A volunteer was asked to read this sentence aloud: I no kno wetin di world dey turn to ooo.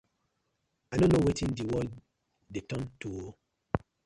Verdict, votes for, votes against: rejected, 1, 2